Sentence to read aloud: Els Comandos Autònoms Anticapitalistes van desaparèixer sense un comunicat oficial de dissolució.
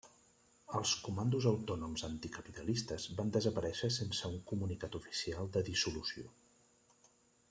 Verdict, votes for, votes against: accepted, 3, 0